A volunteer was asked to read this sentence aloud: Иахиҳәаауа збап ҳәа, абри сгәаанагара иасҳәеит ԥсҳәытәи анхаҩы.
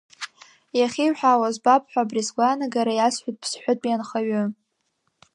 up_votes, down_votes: 2, 1